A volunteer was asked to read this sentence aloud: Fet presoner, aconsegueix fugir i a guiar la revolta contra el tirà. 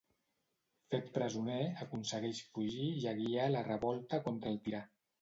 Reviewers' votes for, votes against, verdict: 2, 0, accepted